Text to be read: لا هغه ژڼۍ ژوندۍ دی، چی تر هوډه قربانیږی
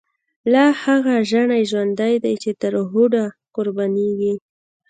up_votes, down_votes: 2, 0